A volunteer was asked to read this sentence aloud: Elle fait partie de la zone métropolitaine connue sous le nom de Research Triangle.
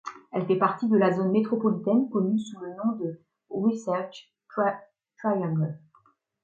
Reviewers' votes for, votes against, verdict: 1, 2, rejected